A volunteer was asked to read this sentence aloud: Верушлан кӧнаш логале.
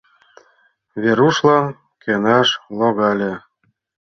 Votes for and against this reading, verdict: 2, 0, accepted